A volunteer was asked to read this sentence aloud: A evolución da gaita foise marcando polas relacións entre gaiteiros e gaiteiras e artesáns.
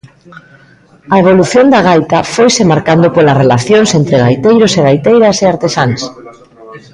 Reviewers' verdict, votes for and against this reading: accepted, 2, 0